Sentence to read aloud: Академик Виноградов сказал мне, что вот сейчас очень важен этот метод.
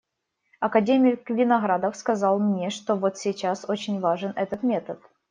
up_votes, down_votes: 2, 0